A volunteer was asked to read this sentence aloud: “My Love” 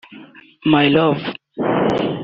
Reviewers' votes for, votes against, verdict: 0, 2, rejected